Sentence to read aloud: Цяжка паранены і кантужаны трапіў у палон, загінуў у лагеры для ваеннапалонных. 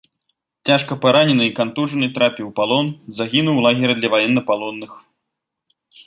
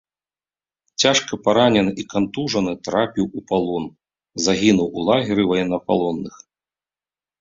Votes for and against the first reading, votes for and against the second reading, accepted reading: 2, 0, 0, 3, first